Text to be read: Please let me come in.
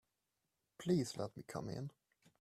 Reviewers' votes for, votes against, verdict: 3, 0, accepted